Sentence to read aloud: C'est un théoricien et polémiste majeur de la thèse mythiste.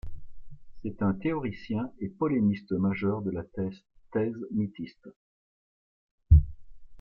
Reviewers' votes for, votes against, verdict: 0, 2, rejected